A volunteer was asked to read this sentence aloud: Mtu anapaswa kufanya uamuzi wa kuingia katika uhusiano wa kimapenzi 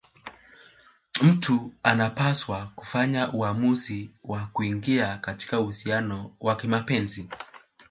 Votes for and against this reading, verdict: 2, 1, accepted